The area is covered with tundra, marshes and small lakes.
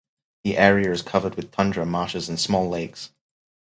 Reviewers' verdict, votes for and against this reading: rejected, 0, 2